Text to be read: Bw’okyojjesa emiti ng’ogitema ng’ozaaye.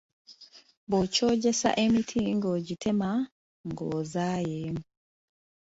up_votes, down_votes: 3, 0